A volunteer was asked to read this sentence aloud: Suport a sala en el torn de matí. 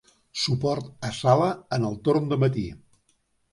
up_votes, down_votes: 2, 0